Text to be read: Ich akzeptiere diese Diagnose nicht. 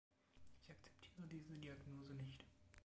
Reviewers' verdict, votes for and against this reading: rejected, 0, 2